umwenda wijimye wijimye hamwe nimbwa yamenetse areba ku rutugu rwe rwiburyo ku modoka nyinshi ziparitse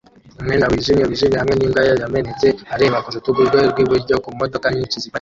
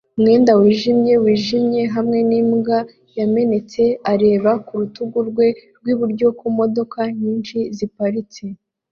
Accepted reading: second